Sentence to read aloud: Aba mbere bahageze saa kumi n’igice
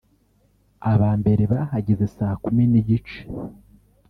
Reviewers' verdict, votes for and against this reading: rejected, 0, 2